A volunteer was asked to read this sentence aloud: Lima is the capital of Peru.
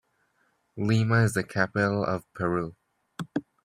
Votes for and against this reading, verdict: 2, 0, accepted